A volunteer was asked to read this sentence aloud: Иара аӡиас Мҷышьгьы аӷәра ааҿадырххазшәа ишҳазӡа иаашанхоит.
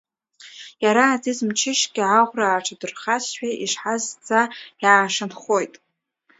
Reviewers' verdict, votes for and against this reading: rejected, 2, 3